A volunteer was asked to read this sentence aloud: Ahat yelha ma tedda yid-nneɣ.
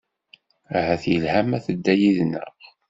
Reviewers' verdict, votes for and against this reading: accepted, 2, 0